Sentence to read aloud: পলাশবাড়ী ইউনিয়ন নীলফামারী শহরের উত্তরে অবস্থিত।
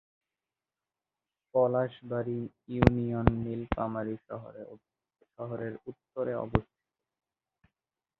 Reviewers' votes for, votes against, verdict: 0, 4, rejected